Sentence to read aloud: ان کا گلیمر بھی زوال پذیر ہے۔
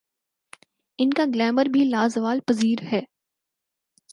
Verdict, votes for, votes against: rejected, 0, 4